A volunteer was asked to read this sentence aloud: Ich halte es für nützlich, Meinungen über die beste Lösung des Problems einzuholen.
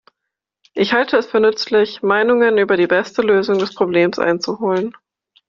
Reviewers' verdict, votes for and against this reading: accepted, 2, 0